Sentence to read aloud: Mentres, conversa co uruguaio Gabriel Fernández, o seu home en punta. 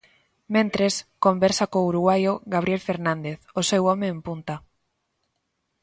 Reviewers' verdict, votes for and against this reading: accepted, 2, 0